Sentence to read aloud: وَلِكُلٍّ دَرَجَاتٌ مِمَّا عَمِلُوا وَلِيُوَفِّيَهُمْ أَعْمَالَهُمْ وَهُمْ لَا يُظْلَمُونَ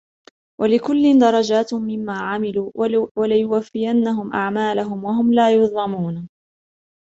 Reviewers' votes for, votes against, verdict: 2, 0, accepted